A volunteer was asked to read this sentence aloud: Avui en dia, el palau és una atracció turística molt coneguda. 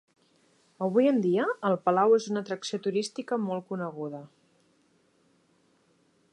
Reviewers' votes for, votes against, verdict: 3, 0, accepted